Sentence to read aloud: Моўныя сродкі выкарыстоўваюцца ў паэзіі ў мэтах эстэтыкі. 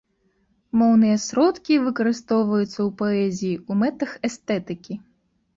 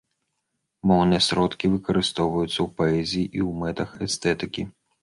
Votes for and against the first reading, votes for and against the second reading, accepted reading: 2, 0, 0, 2, first